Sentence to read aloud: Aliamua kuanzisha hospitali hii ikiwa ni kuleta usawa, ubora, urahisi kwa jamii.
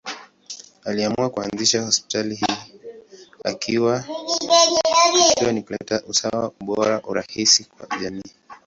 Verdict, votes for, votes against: rejected, 1, 2